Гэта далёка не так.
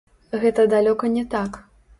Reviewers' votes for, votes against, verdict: 0, 3, rejected